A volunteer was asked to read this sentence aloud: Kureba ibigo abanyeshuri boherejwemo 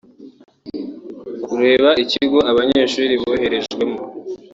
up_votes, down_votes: 1, 2